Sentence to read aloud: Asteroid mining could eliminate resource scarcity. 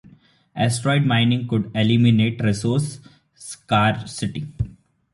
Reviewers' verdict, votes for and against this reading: rejected, 1, 2